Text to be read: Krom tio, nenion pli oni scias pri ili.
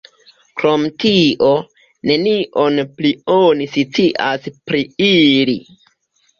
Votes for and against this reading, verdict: 1, 2, rejected